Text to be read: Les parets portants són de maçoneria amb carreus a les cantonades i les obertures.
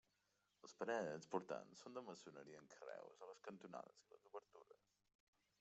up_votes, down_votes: 1, 2